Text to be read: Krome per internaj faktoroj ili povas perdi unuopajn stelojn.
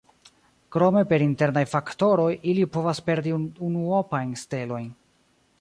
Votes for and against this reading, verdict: 1, 2, rejected